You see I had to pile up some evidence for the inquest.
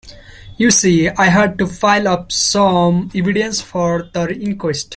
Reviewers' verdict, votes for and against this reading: rejected, 0, 2